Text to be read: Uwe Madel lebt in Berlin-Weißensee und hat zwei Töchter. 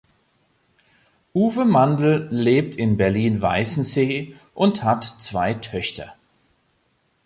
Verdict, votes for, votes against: rejected, 0, 2